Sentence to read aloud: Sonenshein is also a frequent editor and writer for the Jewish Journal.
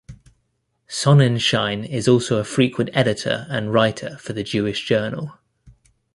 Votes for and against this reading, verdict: 2, 0, accepted